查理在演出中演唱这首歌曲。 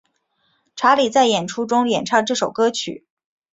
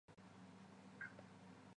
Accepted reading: first